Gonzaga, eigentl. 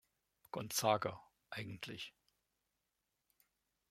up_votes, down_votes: 1, 2